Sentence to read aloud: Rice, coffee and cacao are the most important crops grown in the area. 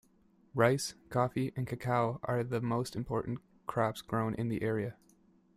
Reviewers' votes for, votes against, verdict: 2, 1, accepted